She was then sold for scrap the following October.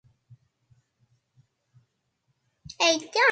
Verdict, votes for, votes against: rejected, 0, 2